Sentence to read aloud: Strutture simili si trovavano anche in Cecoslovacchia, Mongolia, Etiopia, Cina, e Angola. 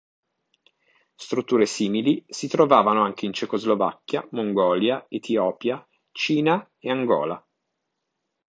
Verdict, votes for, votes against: accepted, 2, 1